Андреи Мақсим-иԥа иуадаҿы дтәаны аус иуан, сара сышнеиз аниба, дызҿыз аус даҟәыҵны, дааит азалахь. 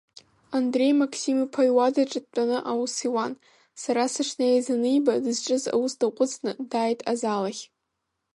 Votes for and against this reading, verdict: 0, 2, rejected